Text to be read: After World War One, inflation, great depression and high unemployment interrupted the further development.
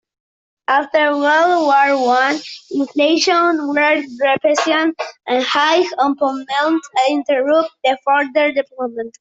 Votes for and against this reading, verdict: 0, 2, rejected